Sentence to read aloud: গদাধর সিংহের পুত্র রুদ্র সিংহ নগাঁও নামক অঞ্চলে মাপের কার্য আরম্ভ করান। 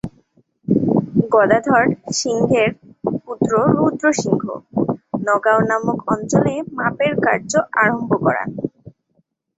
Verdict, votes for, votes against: rejected, 1, 2